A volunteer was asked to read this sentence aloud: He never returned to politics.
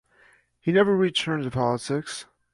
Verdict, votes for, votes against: accepted, 2, 1